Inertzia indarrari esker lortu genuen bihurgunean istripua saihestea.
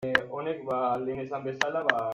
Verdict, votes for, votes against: rejected, 0, 2